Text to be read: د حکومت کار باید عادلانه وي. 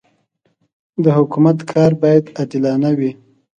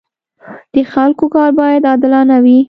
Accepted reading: first